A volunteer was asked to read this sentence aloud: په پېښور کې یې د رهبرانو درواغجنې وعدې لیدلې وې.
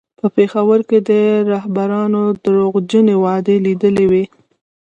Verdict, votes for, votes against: rejected, 1, 2